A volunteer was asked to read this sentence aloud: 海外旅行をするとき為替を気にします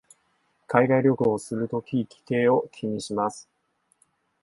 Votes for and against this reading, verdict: 1, 2, rejected